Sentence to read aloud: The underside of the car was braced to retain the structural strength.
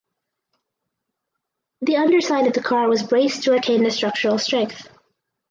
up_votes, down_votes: 4, 0